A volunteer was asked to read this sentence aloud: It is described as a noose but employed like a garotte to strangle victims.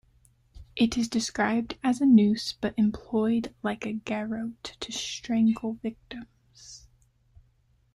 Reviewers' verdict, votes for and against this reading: accepted, 2, 0